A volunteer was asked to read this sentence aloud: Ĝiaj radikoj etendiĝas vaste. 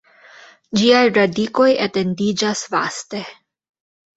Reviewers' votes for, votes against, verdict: 1, 2, rejected